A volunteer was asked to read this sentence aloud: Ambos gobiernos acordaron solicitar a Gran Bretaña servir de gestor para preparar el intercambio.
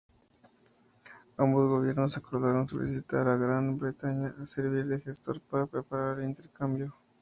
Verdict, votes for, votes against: rejected, 0, 2